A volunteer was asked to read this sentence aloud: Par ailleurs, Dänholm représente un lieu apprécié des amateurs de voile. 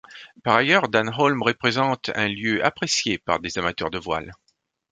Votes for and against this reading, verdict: 1, 2, rejected